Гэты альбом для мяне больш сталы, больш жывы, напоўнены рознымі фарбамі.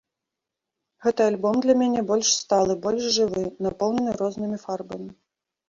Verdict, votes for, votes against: accepted, 2, 0